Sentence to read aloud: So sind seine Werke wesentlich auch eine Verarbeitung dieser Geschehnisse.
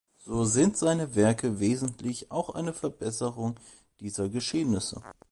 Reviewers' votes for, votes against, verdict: 1, 2, rejected